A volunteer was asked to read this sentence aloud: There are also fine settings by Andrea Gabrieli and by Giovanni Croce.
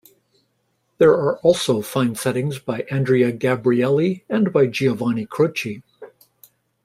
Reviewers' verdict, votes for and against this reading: rejected, 1, 2